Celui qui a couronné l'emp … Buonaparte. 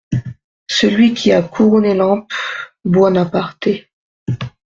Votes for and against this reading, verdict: 2, 0, accepted